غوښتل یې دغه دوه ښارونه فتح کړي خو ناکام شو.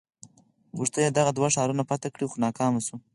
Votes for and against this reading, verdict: 4, 0, accepted